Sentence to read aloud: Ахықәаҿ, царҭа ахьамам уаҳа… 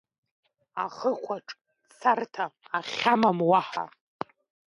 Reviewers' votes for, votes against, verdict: 2, 0, accepted